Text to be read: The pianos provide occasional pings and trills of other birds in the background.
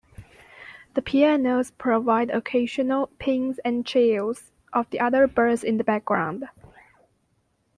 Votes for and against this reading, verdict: 1, 2, rejected